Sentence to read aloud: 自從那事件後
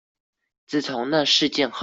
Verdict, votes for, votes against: rejected, 1, 2